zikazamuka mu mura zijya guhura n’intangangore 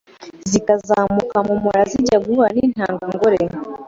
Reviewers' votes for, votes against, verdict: 2, 0, accepted